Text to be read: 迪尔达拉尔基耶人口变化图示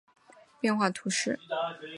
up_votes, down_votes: 0, 2